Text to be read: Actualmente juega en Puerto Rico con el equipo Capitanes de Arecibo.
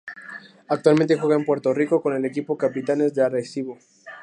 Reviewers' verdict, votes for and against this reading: accepted, 2, 0